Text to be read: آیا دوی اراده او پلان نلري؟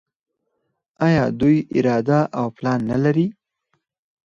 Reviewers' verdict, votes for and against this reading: accepted, 4, 0